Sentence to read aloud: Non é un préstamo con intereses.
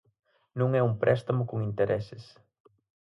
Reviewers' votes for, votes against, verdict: 4, 0, accepted